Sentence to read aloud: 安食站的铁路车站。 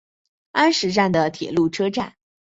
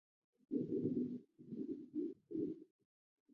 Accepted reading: first